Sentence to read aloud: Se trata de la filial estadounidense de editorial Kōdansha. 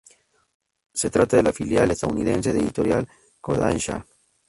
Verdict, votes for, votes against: rejected, 0, 2